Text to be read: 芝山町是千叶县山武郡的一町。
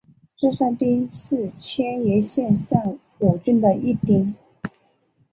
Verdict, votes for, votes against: accepted, 2, 0